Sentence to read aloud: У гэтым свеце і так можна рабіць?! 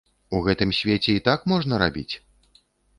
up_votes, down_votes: 3, 0